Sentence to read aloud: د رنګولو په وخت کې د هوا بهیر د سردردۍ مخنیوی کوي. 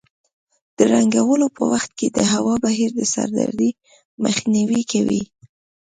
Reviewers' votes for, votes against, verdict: 2, 0, accepted